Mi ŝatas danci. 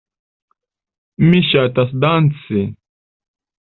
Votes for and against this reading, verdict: 2, 0, accepted